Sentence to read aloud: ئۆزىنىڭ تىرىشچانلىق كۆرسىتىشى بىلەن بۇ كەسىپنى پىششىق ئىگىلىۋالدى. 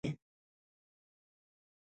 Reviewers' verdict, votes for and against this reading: rejected, 0, 2